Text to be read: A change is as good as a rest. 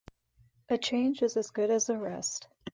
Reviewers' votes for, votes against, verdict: 2, 0, accepted